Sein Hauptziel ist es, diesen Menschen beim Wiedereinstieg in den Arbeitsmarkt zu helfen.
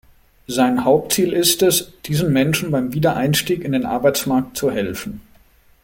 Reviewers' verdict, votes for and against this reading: accepted, 2, 0